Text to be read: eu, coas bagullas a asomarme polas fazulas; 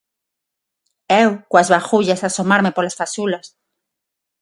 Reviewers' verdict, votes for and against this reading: accepted, 6, 0